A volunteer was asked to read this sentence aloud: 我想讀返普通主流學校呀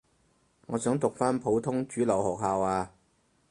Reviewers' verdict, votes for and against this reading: accepted, 4, 0